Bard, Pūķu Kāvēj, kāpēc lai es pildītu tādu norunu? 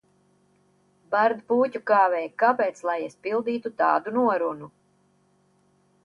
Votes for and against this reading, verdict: 2, 0, accepted